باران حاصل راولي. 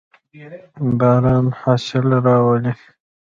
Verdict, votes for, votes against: accepted, 2, 0